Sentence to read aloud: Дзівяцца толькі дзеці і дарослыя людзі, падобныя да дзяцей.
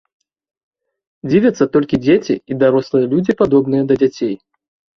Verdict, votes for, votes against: accepted, 2, 0